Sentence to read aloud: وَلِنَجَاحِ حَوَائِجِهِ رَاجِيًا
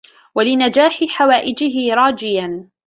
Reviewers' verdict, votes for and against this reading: accepted, 2, 0